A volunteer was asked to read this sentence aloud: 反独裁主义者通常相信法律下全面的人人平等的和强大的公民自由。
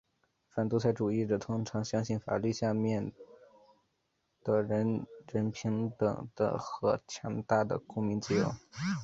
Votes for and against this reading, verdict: 3, 0, accepted